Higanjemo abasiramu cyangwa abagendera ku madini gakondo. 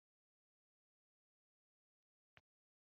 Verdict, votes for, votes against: rejected, 1, 2